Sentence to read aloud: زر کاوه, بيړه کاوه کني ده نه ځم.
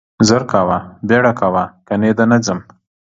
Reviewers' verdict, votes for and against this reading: accepted, 2, 0